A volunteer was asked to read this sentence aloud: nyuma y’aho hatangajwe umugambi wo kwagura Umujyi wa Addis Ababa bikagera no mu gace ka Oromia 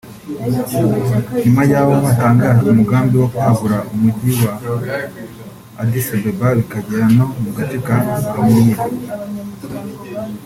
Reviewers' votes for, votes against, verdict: 0, 2, rejected